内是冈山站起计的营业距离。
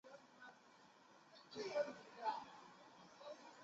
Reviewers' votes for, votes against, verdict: 1, 3, rejected